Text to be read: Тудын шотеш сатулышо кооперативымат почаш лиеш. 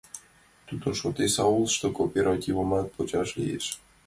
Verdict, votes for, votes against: rejected, 0, 2